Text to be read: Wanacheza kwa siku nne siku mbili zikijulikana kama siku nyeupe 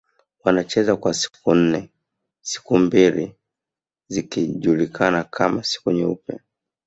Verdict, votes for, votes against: accepted, 2, 0